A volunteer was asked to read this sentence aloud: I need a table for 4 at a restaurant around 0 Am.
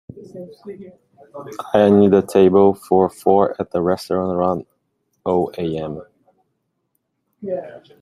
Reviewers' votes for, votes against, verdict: 0, 2, rejected